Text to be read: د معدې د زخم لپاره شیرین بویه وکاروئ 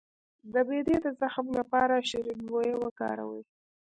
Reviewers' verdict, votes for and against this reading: rejected, 1, 2